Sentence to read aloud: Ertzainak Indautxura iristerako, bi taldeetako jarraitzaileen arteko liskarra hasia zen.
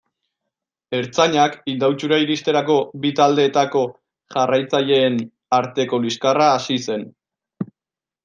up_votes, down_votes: 0, 2